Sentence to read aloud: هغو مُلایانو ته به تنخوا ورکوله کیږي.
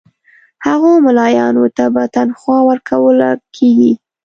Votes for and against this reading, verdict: 2, 0, accepted